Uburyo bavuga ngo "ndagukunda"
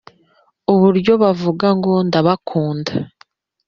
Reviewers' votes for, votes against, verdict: 0, 2, rejected